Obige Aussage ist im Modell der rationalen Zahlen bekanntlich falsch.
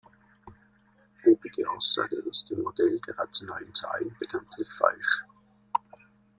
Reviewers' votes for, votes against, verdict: 2, 0, accepted